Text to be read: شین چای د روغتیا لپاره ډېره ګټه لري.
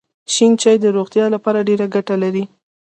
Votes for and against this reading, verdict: 1, 2, rejected